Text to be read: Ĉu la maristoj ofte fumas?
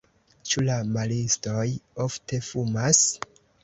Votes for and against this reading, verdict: 1, 2, rejected